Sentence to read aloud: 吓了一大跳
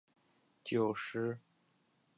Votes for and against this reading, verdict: 1, 2, rejected